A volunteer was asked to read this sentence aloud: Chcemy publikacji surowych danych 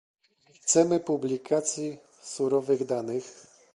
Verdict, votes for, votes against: rejected, 0, 2